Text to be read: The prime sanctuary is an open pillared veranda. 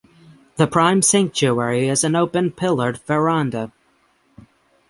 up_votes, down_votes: 6, 0